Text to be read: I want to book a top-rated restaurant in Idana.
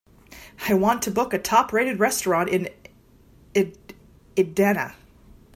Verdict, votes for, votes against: rejected, 2, 3